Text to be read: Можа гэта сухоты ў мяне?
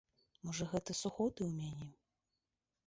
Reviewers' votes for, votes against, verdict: 1, 2, rejected